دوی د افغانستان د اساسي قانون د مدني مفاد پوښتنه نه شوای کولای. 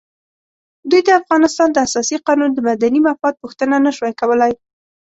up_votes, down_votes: 2, 0